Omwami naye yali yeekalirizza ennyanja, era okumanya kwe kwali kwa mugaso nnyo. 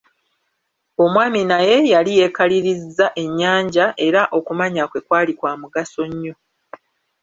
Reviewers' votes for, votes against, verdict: 2, 0, accepted